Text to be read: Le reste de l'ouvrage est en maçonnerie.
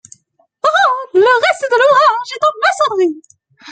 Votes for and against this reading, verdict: 0, 2, rejected